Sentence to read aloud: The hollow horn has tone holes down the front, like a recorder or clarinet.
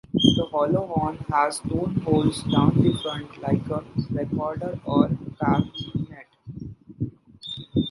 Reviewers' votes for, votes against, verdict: 0, 2, rejected